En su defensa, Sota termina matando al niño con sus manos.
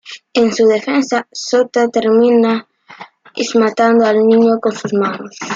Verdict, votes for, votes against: accepted, 2, 1